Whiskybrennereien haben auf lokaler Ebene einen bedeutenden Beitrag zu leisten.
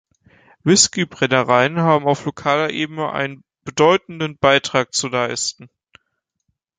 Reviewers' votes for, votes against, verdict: 2, 0, accepted